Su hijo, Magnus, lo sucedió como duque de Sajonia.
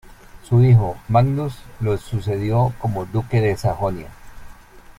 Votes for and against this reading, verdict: 1, 2, rejected